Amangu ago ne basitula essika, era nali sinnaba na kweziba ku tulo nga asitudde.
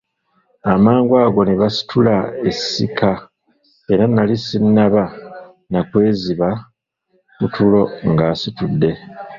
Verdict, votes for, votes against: rejected, 0, 2